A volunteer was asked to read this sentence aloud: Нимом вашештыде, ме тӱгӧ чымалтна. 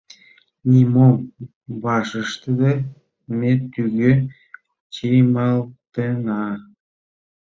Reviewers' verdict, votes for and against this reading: rejected, 1, 2